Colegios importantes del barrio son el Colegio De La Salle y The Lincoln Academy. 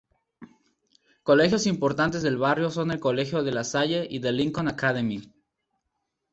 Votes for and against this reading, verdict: 2, 0, accepted